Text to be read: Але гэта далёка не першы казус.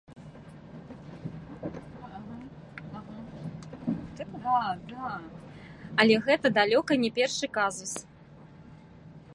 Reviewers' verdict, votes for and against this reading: rejected, 0, 2